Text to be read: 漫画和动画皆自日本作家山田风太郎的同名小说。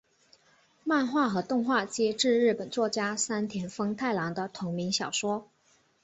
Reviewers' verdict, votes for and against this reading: accepted, 4, 1